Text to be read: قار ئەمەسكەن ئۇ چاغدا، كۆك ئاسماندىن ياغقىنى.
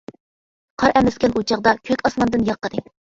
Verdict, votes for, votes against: rejected, 0, 2